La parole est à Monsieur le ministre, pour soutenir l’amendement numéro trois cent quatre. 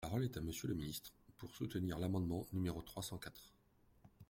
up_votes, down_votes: 1, 2